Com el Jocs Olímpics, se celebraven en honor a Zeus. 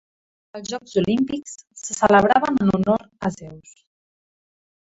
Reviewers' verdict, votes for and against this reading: rejected, 0, 2